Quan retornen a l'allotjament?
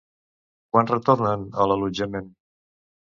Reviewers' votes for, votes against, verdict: 0, 2, rejected